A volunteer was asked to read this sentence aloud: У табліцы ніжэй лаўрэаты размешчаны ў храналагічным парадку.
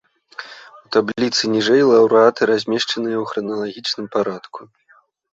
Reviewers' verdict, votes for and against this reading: rejected, 0, 2